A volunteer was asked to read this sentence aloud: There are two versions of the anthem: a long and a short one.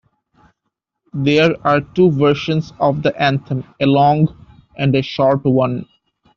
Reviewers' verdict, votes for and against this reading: accepted, 2, 1